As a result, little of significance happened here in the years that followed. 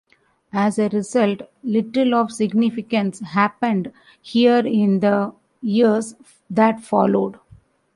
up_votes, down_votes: 2, 1